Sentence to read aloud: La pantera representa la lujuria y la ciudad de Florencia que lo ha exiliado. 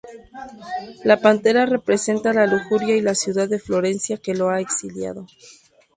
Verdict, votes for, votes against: accepted, 2, 0